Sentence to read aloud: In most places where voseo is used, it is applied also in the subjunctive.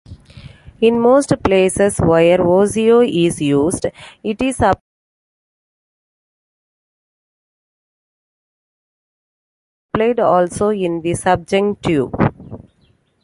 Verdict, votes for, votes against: rejected, 1, 2